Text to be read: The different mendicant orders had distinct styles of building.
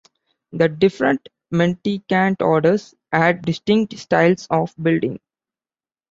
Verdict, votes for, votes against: rejected, 1, 2